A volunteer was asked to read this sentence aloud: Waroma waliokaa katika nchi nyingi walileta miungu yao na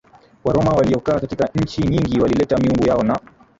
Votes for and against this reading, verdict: 3, 0, accepted